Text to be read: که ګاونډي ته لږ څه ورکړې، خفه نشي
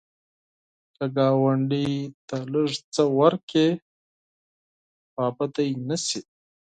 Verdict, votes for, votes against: rejected, 0, 4